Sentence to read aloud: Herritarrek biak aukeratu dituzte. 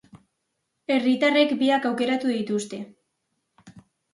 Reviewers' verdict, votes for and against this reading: accepted, 2, 0